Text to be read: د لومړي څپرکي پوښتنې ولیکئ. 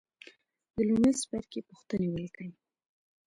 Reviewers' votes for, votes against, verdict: 2, 0, accepted